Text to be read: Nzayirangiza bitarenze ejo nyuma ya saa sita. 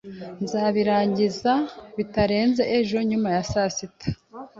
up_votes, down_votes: 2, 0